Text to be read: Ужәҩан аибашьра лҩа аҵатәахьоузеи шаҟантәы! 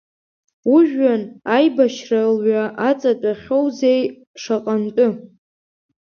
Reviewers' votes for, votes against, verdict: 2, 0, accepted